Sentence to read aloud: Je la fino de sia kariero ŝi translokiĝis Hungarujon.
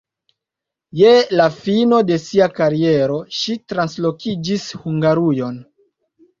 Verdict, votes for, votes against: accepted, 2, 0